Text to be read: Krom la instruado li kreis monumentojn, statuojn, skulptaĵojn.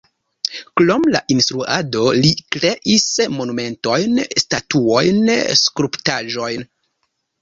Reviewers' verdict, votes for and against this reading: rejected, 1, 2